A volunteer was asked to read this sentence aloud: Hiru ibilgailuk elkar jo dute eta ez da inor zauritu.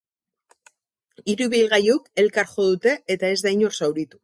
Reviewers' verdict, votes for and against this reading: accepted, 4, 0